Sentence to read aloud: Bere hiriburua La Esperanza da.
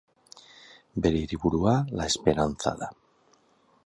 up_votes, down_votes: 2, 0